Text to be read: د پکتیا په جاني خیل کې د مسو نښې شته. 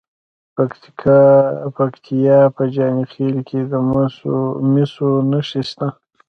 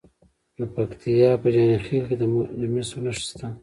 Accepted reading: second